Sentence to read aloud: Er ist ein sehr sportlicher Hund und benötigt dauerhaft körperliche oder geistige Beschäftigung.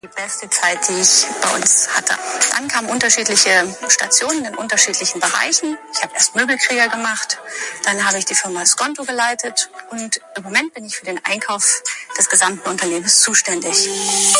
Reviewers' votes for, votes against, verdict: 0, 2, rejected